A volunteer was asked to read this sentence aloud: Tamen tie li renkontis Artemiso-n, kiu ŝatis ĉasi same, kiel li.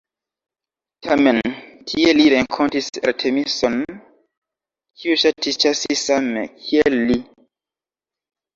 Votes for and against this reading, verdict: 1, 2, rejected